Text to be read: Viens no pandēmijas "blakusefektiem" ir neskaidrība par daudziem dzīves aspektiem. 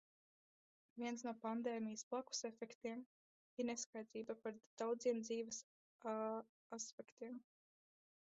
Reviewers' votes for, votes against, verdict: 0, 2, rejected